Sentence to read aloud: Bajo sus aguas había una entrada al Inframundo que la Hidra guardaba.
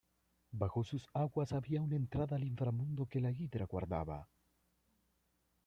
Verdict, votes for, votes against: accepted, 2, 0